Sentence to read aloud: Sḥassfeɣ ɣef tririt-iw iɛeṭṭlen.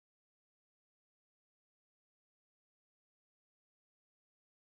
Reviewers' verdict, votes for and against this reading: rejected, 0, 2